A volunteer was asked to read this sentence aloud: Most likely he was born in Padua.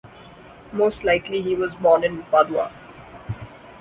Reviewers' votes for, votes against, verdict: 2, 0, accepted